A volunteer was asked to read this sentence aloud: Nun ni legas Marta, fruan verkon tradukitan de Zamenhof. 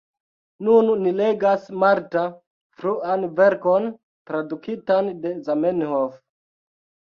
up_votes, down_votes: 1, 2